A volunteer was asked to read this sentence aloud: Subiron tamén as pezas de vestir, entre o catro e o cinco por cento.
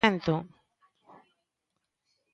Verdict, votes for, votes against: rejected, 0, 2